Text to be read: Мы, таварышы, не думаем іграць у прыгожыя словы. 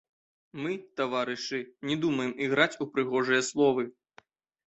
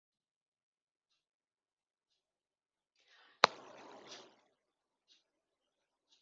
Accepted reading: first